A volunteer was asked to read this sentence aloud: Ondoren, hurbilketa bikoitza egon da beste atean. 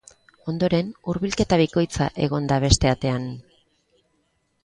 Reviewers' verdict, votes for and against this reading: accepted, 3, 0